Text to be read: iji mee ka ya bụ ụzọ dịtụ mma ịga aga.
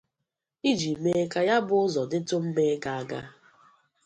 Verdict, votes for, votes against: accepted, 2, 0